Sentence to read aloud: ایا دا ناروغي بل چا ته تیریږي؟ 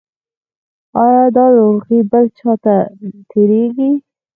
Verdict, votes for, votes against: rejected, 2, 4